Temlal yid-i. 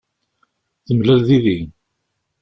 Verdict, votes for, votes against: rejected, 1, 2